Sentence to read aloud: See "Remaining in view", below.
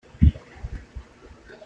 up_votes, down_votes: 0, 2